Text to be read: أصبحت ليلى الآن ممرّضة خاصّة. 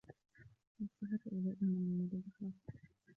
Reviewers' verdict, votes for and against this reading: rejected, 1, 2